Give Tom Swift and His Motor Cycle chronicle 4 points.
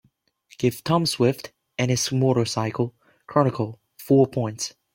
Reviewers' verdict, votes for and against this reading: rejected, 0, 2